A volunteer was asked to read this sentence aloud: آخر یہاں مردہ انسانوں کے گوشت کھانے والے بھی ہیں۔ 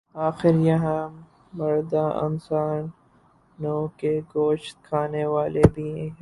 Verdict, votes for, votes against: rejected, 0, 4